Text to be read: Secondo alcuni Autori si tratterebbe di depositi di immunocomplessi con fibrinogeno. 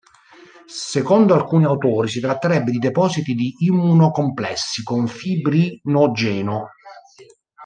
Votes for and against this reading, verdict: 0, 2, rejected